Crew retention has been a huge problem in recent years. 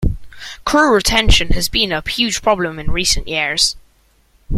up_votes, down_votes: 2, 0